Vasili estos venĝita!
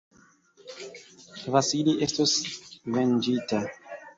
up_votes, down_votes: 2, 1